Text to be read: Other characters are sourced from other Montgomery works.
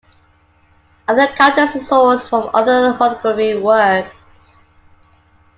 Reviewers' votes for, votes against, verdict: 0, 2, rejected